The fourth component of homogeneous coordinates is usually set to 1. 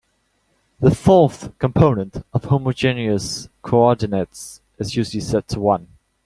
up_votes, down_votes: 0, 2